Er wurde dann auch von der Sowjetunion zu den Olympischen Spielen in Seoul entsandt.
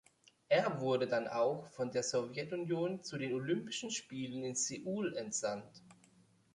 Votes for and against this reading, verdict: 2, 0, accepted